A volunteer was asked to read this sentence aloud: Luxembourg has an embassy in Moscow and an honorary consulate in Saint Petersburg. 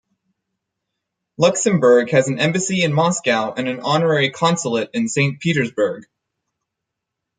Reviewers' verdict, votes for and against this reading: accepted, 4, 0